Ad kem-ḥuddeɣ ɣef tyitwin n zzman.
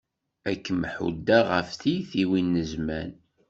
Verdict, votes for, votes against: accepted, 2, 0